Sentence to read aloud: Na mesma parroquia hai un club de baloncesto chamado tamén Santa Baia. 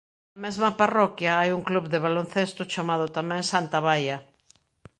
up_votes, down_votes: 0, 2